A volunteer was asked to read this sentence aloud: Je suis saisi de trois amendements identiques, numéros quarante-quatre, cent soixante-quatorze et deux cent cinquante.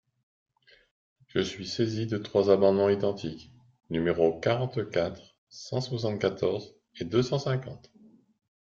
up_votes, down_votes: 2, 0